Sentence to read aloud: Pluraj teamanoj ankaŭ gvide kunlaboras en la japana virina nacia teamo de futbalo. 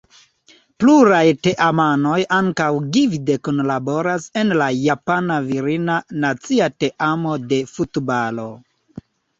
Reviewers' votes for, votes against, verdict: 1, 3, rejected